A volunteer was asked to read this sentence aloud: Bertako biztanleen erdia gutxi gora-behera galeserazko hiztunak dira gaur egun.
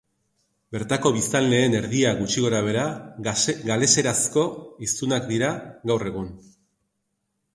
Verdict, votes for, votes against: rejected, 1, 5